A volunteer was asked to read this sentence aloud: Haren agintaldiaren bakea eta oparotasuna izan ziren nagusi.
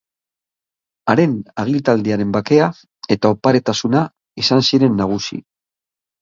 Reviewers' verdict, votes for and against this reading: rejected, 1, 2